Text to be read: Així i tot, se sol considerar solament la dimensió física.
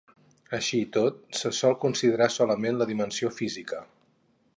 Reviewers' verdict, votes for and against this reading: accepted, 4, 0